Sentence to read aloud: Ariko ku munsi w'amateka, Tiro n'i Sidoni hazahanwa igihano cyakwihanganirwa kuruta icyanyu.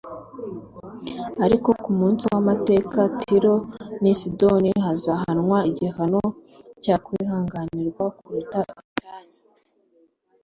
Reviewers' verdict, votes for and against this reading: accepted, 3, 0